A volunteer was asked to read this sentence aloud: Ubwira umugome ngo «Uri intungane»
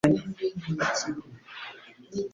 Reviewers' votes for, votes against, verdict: 0, 2, rejected